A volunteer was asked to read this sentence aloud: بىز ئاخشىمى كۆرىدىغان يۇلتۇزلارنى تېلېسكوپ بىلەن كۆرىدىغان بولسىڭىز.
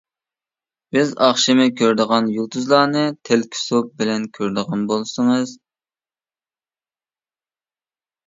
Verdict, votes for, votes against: rejected, 0, 2